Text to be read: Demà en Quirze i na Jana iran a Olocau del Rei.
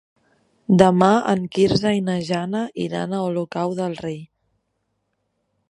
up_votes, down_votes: 5, 0